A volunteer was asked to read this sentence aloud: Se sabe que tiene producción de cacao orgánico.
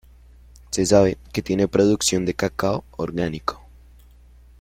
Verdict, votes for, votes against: accepted, 2, 1